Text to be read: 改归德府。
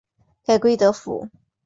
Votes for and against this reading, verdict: 5, 0, accepted